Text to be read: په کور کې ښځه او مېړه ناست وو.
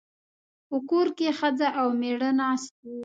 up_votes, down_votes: 2, 0